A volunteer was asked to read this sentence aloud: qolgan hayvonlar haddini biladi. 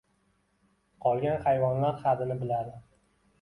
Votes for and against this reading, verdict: 1, 2, rejected